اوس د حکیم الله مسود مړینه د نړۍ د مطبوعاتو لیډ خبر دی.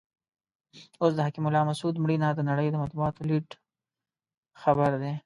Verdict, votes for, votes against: accepted, 2, 0